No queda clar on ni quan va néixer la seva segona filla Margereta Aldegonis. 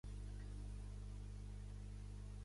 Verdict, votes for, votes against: rejected, 1, 2